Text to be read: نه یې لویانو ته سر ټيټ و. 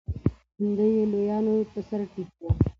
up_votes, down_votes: 0, 2